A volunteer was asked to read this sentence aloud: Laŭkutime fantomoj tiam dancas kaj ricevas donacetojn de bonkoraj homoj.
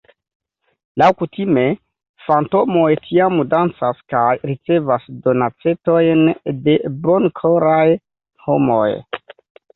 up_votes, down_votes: 1, 2